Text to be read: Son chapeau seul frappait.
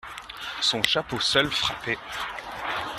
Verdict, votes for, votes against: accepted, 2, 0